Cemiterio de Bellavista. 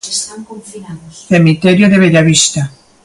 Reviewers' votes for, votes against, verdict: 1, 2, rejected